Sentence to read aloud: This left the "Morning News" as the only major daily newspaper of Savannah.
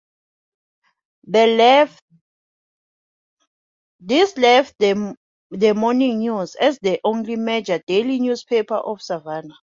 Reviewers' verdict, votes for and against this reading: rejected, 0, 2